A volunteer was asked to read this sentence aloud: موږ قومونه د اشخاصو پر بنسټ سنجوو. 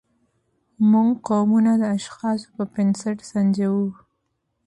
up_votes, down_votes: 2, 0